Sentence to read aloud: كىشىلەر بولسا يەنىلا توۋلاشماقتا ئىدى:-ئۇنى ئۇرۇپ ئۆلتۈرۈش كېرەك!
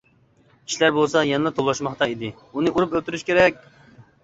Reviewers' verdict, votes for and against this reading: rejected, 1, 2